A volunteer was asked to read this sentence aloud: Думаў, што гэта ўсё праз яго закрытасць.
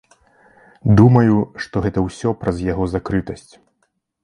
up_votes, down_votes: 0, 2